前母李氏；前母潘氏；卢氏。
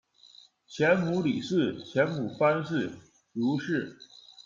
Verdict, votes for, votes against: rejected, 0, 2